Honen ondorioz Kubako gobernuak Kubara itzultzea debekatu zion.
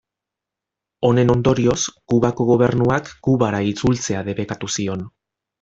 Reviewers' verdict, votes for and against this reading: accepted, 2, 0